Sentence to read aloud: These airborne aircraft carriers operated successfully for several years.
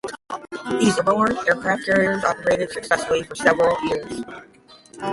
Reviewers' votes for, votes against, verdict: 0, 5, rejected